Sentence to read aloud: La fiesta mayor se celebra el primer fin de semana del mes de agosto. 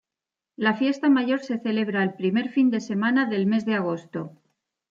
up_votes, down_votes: 2, 0